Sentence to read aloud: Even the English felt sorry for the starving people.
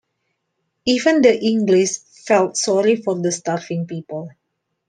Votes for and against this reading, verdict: 2, 0, accepted